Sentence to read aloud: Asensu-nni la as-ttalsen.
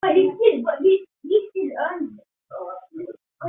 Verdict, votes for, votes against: rejected, 0, 2